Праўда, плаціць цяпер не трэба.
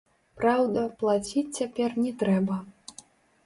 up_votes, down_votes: 0, 3